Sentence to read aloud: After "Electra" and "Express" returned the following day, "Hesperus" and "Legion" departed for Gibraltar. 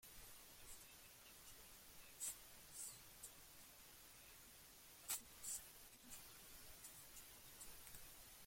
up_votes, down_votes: 0, 2